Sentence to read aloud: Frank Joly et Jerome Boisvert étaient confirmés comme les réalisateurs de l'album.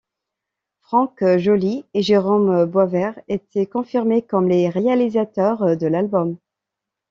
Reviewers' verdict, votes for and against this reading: accepted, 2, 0